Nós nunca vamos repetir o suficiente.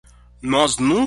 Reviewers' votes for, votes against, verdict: 0, 2, rejected